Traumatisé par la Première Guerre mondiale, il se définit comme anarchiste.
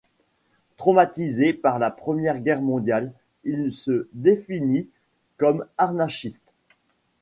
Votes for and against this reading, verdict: 0, 2, rejected